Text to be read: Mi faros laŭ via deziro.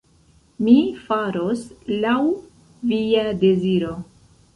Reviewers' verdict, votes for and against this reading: accepted, 2, 1